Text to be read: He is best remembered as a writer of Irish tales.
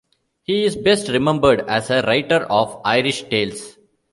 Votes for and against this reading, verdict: 2, 0, accepted